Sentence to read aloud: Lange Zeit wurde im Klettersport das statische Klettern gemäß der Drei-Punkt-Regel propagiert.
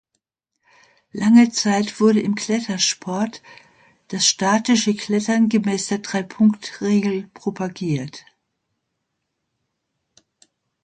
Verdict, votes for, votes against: accepted, 2, 0